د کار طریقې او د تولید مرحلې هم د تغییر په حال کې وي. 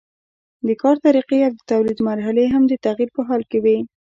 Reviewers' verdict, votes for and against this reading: rejected, 0, 2